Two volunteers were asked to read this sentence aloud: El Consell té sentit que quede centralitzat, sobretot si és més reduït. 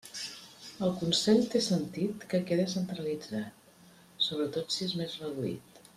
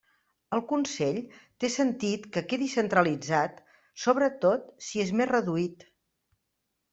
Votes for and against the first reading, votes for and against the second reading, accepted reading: 2, 0, 1, 2, first